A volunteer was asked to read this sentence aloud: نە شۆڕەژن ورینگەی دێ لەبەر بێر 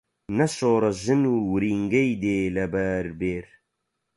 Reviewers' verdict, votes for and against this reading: accepted, 4, 0